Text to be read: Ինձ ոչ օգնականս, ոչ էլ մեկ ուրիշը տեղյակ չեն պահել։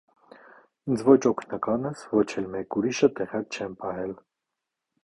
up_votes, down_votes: 2, 0